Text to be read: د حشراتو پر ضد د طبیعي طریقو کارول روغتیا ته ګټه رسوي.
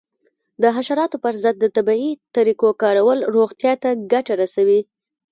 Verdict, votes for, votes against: accepted, 2, 0